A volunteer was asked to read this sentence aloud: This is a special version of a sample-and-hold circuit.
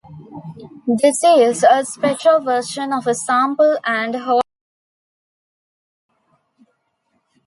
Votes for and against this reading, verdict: 0, 2, rejected